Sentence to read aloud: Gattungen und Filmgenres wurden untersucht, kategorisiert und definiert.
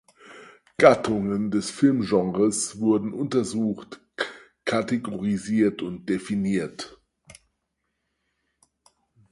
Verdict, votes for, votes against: rejected, 2, 4